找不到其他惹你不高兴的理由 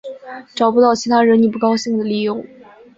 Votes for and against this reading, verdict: 3, 0, accepted